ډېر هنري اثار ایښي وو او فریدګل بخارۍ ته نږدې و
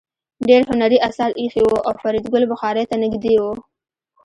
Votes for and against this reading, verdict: 2, 0, accepted